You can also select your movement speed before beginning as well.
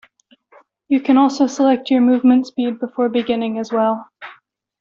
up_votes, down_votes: 2, 0